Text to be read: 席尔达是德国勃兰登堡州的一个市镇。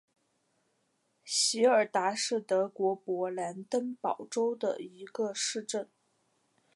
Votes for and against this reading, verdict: 3, 0, accepted